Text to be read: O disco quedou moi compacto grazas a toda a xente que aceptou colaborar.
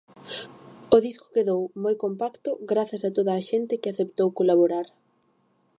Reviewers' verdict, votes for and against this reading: accepted, 2, 0